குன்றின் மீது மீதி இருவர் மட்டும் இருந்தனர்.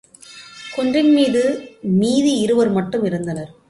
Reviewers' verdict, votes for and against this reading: accepted, 2, 0